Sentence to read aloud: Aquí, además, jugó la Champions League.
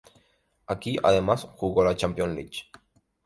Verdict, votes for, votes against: rejected, 0, 2